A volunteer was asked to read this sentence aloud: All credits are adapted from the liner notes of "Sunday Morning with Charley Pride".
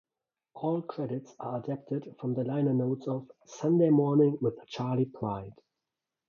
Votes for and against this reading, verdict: 2, 0, accepted